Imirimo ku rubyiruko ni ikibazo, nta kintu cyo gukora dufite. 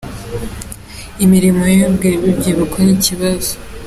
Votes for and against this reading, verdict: 0, 3, rejected